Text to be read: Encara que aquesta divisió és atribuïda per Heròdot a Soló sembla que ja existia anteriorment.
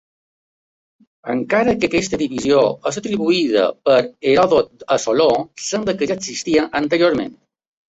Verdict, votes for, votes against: accepted, 2, 0